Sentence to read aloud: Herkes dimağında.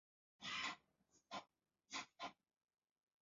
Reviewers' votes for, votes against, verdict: 0, 2, rejected